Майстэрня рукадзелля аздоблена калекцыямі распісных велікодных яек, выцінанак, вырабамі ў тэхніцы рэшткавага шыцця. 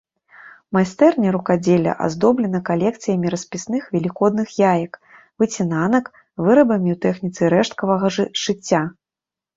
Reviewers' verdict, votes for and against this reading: rejected, 0, 2